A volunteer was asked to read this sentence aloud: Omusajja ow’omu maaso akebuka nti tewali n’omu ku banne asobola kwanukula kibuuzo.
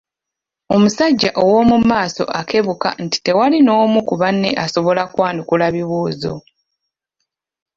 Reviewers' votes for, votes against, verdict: 1, 2, rejected